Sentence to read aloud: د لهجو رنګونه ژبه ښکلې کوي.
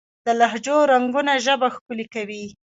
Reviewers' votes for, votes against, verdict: 1, 2, rejected